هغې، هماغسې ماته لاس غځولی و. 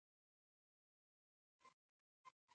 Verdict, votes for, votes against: rejected, 1, 2